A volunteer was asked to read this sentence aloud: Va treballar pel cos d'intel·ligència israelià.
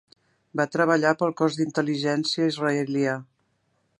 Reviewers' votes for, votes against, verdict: 3, 1, accepted